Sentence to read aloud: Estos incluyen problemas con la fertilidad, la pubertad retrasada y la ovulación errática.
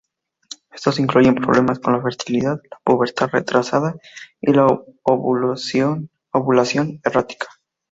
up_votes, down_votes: 0, 2